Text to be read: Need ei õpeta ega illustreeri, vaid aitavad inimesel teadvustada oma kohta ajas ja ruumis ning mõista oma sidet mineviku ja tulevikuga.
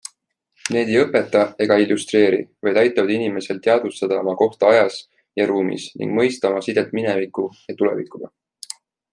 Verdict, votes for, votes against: accepted, 2, 0